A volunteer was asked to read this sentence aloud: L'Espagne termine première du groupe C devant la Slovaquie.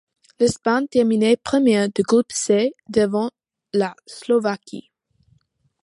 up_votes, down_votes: 2, 0